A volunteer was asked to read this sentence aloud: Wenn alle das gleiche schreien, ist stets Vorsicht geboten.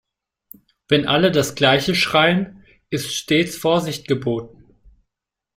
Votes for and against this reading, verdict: 0, 2, rejected